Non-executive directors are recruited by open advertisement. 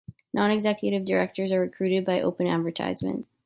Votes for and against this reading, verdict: 2, 0, accepted